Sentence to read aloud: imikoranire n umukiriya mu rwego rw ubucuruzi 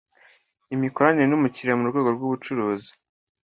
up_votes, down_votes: 2, 0